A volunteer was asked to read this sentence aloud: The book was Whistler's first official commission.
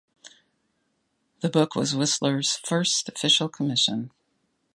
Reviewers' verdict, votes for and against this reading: accepted, 2, 0